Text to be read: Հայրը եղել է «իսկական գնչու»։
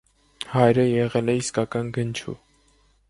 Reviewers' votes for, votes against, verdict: 2, 0, accepted